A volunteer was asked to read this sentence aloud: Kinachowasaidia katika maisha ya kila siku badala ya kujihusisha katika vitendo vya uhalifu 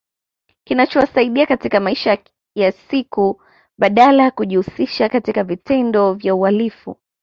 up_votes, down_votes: 0, 2